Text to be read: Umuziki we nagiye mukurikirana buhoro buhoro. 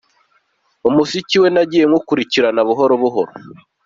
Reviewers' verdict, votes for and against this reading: accepted, 2, 0